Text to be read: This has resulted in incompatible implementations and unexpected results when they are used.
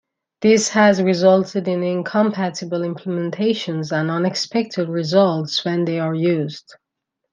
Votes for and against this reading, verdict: 2, 0, accepted